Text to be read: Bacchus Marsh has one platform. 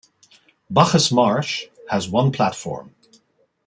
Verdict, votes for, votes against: accepted, 2, 0